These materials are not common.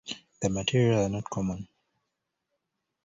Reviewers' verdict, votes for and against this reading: rejected, 0, 2